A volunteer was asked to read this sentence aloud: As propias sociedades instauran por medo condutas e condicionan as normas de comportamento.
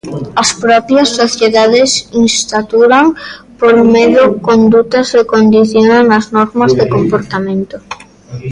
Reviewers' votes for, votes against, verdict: 0, 2, rejected